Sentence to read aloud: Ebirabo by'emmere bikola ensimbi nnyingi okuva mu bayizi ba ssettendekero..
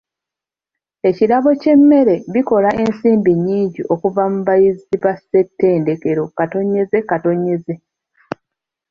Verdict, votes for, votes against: rejected, 0, 2